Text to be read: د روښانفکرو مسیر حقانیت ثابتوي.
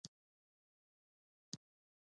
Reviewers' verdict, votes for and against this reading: accepted, 2, 0